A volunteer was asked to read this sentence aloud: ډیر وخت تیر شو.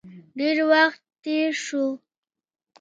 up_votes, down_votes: 2, 0